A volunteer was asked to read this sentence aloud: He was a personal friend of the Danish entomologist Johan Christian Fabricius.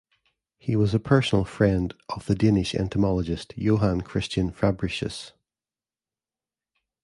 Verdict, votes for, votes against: accepted, 2, 0